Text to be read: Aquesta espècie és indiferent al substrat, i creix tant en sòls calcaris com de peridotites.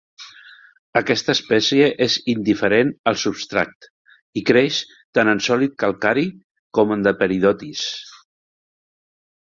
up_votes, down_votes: 0, 2